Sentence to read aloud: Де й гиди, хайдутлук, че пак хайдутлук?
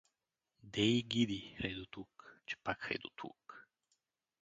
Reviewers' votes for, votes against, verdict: 4, 0, accepted